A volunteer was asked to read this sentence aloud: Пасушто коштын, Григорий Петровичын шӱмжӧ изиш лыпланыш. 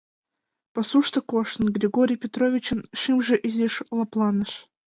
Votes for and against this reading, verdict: 2, 0, accepted